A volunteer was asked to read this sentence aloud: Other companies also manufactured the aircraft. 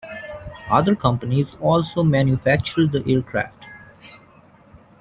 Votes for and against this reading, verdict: 2, 0, accepted